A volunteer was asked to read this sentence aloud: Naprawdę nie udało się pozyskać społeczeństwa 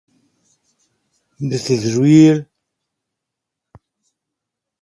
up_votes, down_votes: 0, 2